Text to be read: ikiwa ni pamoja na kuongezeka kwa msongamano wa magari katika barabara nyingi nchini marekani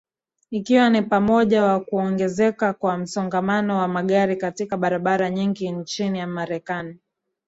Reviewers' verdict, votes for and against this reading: accepted, 2, 0